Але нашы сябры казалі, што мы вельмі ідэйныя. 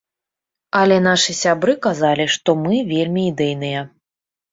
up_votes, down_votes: 3, 0